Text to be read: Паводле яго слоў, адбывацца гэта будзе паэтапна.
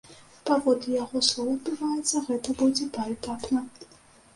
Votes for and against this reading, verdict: 0, 2, rejected